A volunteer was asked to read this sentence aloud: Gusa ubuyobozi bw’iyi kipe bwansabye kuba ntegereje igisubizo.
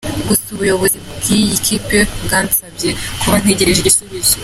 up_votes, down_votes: 2, 0